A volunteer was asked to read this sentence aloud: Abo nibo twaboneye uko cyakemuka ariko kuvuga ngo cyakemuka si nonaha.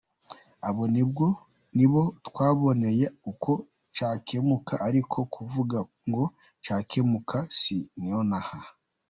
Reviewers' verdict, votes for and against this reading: accepted, 2, 1